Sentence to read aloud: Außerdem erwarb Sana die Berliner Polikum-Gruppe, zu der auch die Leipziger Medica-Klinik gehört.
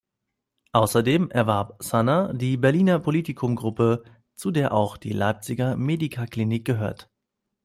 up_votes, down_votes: 0, 2